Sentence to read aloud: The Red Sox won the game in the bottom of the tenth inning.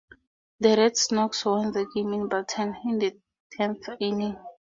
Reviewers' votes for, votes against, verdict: 0, 2, rejected